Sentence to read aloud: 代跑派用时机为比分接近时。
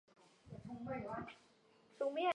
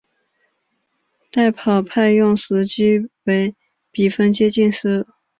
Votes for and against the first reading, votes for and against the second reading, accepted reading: 0, 2, 5, 0, second